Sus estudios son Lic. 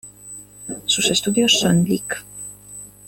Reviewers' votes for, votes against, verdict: 2, 1, accepted